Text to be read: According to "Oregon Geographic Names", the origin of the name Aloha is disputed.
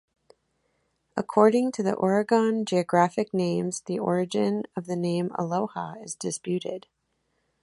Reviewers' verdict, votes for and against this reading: rejected, 1, 2